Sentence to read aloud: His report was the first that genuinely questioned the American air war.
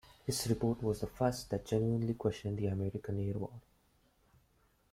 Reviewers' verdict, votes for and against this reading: accepted, 2, 1